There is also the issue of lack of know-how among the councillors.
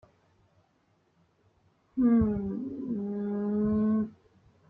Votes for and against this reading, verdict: 0, 2, rejected